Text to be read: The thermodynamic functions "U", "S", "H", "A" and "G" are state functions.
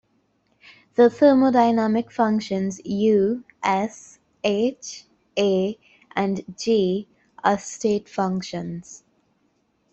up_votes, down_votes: 2, 0